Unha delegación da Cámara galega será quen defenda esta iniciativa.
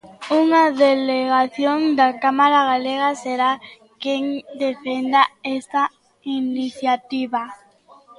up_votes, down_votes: 1, 2